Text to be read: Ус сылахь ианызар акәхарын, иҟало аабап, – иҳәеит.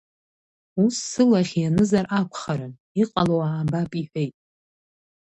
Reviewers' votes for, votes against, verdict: 2, 0, accepted